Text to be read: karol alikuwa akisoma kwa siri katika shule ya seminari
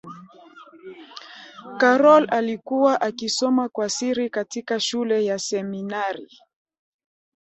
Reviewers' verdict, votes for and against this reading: accepted, 2, 1